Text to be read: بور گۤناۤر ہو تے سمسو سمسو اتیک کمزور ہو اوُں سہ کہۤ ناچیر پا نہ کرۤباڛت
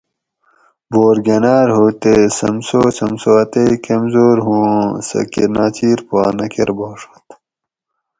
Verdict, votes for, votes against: accepted, 4, 2